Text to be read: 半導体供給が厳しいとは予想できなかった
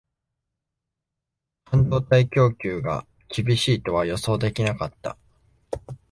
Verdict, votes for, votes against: accepted, 2, 1